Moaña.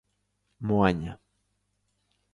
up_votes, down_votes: 2, 0